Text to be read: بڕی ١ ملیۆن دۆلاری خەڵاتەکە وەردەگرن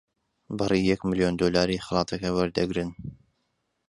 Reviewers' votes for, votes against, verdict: 0, 2, rejected